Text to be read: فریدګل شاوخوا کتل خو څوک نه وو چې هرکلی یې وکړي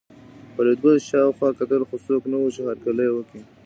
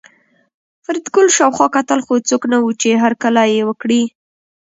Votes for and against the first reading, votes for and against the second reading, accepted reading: 1, 2, 2, 1, second